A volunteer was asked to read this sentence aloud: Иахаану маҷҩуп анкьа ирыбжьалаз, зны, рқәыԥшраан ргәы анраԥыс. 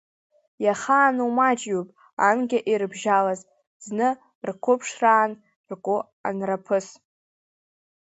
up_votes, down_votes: 2, 0